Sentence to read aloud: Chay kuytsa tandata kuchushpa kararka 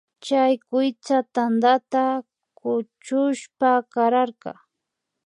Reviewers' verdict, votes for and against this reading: accepted, 2, 0